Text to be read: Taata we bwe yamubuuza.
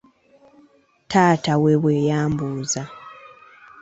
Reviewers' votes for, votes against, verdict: 2, 1, accepted